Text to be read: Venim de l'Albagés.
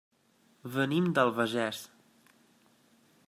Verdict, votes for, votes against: accepted, 2, 1